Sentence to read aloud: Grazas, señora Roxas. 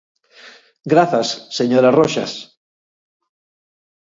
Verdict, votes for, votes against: accepted, 4, 0